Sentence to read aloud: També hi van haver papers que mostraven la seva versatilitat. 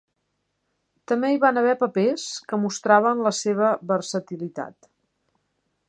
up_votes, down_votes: 3, 0